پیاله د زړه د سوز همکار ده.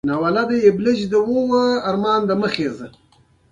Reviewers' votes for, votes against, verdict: 0, 2, rejected